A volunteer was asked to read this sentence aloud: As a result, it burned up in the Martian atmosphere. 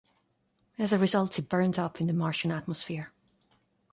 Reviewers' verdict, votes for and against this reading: accepted, 2, 0